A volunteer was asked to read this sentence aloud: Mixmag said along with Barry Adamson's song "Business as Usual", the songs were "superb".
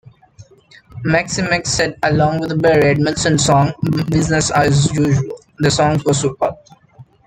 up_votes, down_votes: 0, 2